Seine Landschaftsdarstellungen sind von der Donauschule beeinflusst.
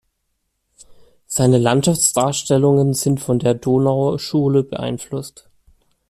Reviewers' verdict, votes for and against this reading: accepted, 2, 0